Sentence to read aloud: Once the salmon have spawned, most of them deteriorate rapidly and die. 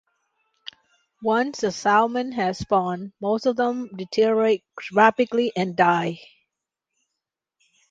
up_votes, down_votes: 2, 1